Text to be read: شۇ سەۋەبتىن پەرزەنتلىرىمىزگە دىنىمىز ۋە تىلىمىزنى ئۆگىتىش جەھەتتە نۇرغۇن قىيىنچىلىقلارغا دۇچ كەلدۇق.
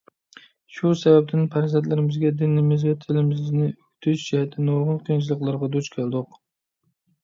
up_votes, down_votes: 0, 2